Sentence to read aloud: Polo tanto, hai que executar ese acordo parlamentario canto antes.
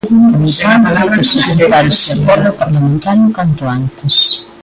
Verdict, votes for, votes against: rejected, 0, 3